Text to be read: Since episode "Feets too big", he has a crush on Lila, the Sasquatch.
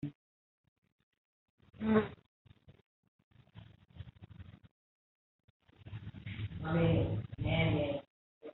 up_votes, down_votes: 0, 2